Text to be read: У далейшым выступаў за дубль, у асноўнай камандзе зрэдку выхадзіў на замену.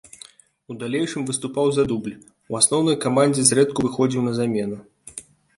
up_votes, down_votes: 0, 2